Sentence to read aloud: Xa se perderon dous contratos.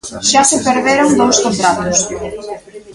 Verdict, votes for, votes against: accepted, 2, 0